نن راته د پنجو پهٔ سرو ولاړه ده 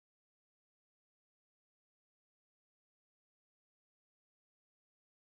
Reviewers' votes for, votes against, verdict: 2, 4, rejected